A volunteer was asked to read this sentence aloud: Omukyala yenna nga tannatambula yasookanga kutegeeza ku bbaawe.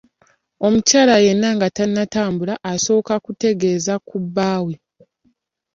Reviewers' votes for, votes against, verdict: 1, 2, rejected